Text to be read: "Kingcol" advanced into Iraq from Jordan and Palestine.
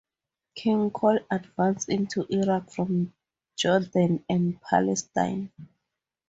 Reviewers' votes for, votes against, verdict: 4, 0, accepted